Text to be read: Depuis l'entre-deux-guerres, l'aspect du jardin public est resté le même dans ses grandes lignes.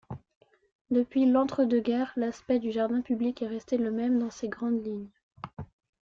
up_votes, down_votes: 2, 0